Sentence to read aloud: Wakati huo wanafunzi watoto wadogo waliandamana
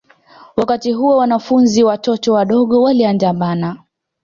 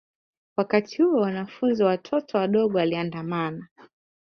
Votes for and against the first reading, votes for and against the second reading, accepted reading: 2, 0, 0, 2, first